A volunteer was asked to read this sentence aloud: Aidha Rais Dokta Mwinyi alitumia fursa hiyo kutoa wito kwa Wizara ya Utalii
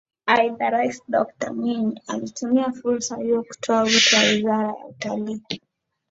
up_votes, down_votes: 2, 0